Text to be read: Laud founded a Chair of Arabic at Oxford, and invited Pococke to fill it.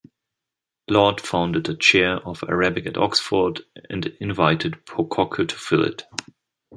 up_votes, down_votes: 2, 1